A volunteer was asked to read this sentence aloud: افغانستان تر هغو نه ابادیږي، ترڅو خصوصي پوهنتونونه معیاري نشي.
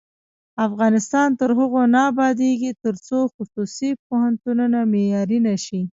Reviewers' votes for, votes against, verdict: 1, 2, rejected